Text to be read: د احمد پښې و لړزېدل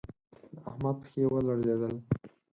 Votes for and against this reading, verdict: 2, 4, rejected